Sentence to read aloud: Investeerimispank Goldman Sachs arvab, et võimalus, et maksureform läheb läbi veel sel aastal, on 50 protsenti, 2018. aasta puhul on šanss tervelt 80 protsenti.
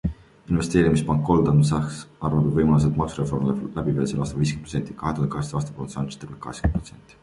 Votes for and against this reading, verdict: 0, 2, rejected